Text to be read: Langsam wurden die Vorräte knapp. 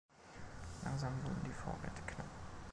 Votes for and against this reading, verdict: 1, 2, rejected